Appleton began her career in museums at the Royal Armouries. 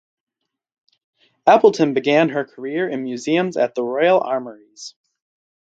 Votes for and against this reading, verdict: 4, 0, accepted